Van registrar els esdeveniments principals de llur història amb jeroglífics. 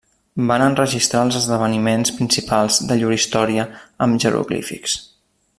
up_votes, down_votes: 0, 2